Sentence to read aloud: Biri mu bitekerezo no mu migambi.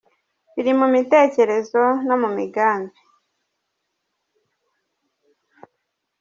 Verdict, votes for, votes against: rejected, 0, 2